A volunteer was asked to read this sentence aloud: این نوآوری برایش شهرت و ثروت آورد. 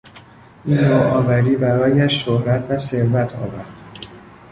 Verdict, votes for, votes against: rejected, 1, 2